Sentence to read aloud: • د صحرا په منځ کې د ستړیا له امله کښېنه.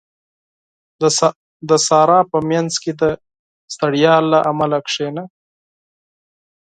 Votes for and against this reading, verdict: 0, 6, rejected